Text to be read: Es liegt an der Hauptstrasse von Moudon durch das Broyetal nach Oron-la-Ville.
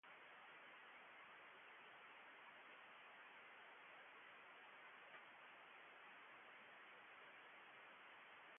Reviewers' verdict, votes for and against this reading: rejected, 0, 2